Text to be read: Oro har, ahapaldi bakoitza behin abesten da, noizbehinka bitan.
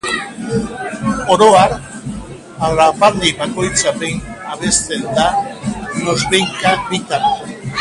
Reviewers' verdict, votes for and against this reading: accepted, 2, 1